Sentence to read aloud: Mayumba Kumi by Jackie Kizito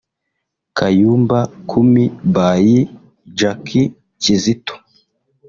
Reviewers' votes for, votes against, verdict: 1, 2, rejected